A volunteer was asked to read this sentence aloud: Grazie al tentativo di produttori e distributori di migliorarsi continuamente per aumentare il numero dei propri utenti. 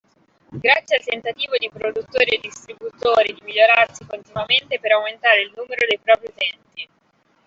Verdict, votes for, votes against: rejected, 1, 2